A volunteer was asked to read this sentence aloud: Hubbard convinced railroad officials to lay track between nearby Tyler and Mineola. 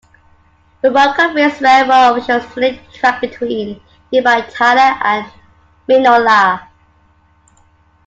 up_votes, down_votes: 1, 2